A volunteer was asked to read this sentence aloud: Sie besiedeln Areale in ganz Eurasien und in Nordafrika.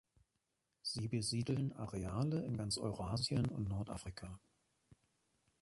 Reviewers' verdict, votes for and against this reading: accepted, 2, 1